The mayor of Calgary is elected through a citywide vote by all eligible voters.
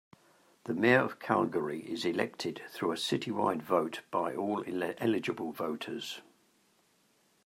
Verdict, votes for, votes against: accepted, 2, 1